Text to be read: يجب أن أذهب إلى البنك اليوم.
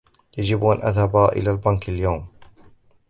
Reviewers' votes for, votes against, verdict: 2, 1, accepted